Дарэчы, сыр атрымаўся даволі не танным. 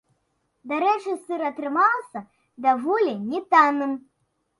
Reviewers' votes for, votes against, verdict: 2, 0, accepted